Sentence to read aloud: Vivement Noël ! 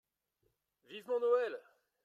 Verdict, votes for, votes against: rejected, 0, 2